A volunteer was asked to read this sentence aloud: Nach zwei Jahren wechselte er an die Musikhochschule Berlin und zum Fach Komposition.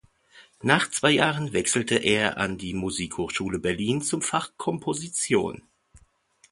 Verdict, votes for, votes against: rejected, 1, 2